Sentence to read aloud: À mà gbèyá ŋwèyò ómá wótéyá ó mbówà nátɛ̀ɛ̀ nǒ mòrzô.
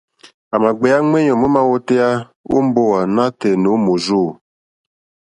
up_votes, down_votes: 2, 0